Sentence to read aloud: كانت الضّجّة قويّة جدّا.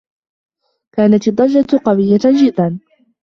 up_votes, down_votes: 2, 1